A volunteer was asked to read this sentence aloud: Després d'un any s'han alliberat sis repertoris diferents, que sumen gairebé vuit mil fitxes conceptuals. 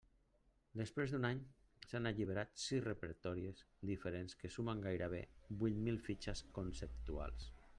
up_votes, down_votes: 1, 2